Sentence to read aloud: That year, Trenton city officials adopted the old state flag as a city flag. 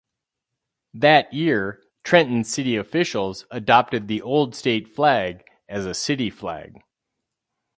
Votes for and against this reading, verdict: 6, 0, accepted